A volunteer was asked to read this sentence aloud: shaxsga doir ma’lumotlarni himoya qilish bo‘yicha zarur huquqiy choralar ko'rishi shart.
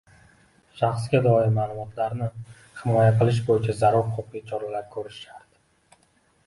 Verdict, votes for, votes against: accepted, 2, 1